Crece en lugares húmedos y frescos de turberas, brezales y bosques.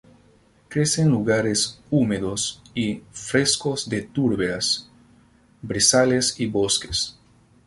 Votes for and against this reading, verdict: 2, 0, accepted